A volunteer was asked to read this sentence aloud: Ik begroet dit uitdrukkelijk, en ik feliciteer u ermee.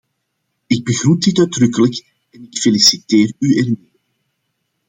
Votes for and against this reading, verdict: 0, 2, rejected